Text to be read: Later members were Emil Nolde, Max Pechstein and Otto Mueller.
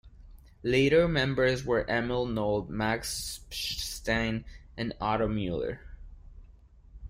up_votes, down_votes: 1, 2